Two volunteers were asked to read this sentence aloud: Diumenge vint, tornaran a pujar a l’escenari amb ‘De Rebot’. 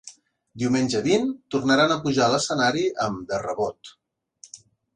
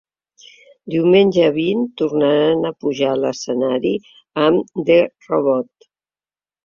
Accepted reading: first